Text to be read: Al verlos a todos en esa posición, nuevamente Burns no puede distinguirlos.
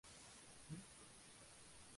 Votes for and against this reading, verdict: 0, 2, rejected